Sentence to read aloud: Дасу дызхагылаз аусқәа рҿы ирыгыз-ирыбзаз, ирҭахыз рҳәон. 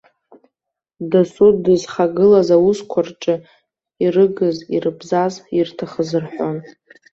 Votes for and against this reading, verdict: 1, 2, rejected